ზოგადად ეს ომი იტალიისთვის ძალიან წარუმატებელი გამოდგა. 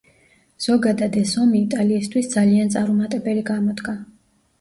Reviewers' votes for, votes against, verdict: 1, 2, rejected